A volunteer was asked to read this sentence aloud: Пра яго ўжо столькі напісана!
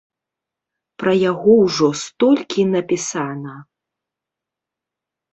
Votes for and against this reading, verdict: 2, 0, accepted